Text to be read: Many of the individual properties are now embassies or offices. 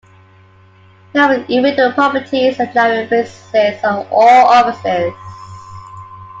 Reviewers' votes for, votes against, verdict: 0, 2, rejected